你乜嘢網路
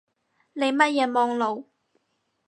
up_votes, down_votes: 4, 0